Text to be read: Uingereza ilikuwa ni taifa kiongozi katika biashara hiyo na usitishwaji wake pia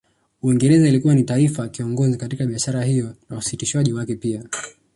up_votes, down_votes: 2, 0